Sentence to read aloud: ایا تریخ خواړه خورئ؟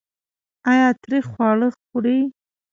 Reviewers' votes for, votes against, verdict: 1, 2, rejected